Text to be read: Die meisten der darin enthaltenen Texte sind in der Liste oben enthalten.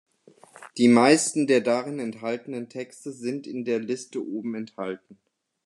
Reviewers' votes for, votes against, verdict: 2, 0, accepted